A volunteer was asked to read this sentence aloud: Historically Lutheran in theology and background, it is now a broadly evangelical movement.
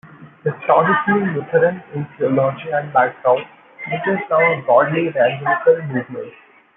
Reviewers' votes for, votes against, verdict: 1, 2, rejected